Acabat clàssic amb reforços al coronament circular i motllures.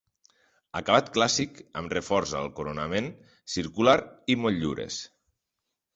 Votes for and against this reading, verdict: 1, 2, rejected